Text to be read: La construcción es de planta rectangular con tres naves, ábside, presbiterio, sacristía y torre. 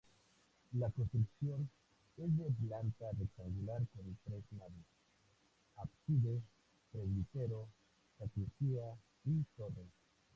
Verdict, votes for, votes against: rejected, 0, 4